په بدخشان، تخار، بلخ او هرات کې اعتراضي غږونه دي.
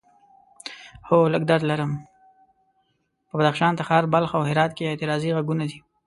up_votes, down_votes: 1, 2